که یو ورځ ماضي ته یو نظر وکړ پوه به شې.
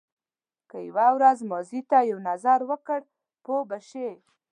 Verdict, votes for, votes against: accepted, 2, 0